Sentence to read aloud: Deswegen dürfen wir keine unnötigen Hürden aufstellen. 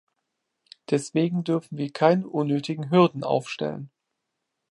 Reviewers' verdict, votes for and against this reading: accepted, 2, 1